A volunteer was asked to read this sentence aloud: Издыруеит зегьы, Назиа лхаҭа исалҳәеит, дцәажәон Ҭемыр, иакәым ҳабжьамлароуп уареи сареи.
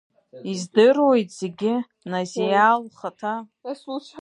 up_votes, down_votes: 1, 2